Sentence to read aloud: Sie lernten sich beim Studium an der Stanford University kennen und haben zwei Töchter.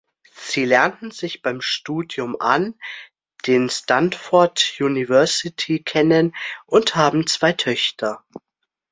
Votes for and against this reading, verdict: 0, 2, rejected